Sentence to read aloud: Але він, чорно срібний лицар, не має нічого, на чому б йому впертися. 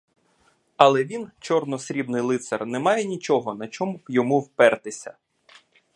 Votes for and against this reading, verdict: 2, 0, accepted